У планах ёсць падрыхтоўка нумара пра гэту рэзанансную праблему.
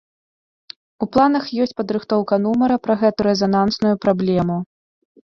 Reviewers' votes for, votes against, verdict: 2, 0, accepted